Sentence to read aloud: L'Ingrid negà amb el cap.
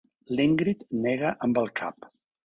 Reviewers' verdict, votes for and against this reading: rejected, 1, 3